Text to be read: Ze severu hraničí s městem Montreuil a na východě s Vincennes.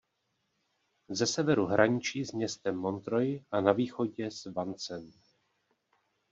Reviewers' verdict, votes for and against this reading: rejected, 1, 2